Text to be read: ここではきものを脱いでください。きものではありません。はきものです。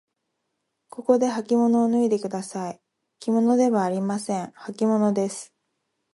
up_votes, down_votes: 0, 2